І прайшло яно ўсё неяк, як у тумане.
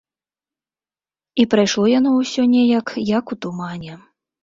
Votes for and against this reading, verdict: 2, 0, accepted